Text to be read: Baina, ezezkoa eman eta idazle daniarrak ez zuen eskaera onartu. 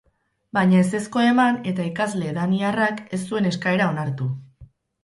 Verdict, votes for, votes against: rejected, 2, 8